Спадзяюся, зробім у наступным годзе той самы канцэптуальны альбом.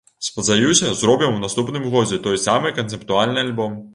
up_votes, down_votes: 2, 0